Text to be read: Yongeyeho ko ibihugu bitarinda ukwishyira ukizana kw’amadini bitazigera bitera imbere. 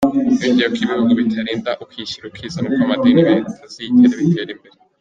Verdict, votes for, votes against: accepted, 2, 1